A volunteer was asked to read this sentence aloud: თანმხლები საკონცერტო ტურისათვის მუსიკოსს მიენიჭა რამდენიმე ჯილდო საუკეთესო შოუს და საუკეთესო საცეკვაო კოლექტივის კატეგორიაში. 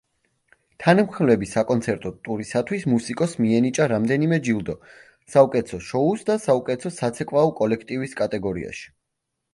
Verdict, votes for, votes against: accepted, 2, 0